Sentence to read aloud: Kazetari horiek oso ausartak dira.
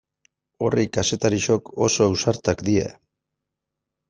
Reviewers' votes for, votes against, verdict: 0, 2, rejected